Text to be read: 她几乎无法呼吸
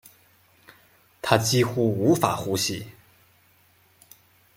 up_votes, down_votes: 2, 0